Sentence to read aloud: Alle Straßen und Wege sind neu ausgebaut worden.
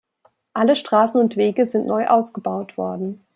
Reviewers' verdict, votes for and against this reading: accepted, 2, 0